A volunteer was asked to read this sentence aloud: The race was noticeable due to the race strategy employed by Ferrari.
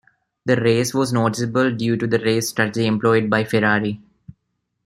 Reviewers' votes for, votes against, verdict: 2, 1, accepted